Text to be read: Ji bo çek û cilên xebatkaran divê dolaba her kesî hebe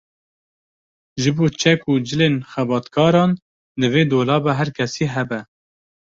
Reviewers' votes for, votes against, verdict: 2, 0, accepted